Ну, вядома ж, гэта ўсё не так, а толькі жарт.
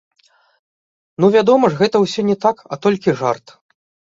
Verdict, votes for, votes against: accepted, 2, 0